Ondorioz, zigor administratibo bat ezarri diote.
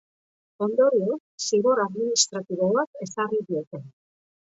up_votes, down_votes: 2, 0